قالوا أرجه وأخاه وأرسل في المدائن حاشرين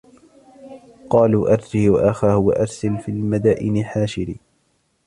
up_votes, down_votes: 2, 0